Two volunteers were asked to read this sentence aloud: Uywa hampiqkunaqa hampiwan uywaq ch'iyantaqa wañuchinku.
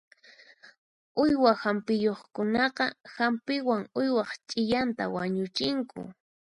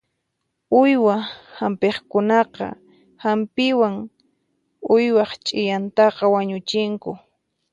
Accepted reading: second